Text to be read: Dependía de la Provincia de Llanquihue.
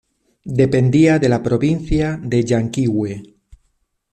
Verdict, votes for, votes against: rejected, 0, 2